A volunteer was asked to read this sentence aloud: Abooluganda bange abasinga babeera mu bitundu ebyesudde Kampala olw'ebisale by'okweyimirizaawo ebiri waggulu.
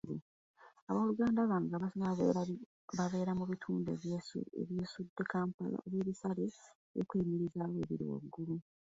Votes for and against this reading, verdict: 0, 3, rejected